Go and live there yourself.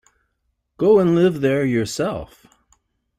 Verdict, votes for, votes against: accepted, 2, 0